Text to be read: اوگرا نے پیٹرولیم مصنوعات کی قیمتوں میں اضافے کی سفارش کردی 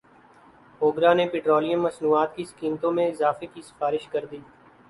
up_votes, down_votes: 10, 1